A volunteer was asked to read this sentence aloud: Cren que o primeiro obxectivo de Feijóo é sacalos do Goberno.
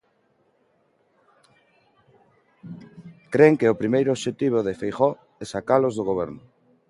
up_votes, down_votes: 3, 0